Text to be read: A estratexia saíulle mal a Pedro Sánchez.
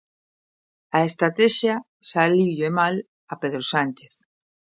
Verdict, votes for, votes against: accepted, 2, 0